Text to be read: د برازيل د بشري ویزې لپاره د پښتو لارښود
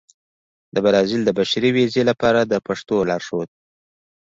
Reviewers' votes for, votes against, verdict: 2, 0, accepted